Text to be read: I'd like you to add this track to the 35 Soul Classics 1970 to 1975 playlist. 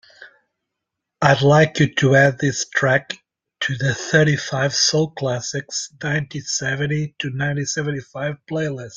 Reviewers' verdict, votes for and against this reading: rejected, 0, 2